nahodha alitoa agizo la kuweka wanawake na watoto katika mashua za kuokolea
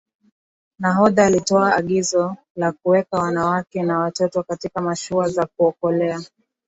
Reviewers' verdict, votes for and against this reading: accepted, 4, 0